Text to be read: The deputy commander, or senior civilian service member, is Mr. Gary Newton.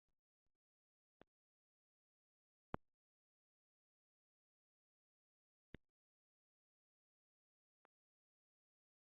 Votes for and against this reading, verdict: 0, 2, rejected